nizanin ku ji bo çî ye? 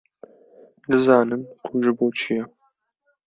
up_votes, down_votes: 2, 0